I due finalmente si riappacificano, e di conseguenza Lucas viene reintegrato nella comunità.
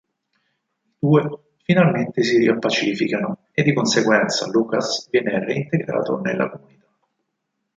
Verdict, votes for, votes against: rejected, 0, 4